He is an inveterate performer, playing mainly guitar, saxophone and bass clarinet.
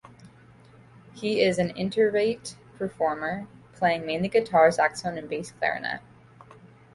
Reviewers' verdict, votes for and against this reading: rejected, 1, 2